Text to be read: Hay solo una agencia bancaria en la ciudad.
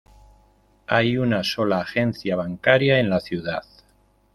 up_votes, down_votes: 0, 2